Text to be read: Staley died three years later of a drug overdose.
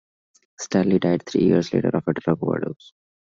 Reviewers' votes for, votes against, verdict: 2, 0, accepted